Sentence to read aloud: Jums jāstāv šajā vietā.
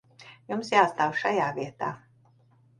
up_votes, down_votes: 2, 0